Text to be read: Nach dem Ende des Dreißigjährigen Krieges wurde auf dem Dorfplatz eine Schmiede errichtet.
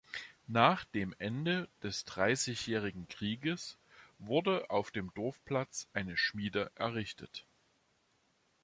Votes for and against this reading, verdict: 2, 0, accepted